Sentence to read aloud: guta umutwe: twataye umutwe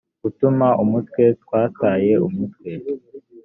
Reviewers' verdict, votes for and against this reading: rejected, 1, 4